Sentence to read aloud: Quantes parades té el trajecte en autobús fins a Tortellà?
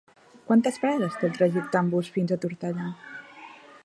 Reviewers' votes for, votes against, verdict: 1, 3, rejected